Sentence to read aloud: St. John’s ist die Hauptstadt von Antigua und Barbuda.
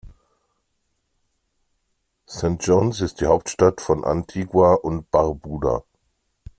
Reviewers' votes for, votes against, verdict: 2, 0, accepted